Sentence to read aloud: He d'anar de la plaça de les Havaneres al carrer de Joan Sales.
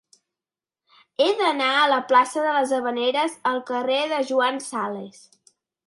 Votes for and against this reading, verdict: 1, 2, rejected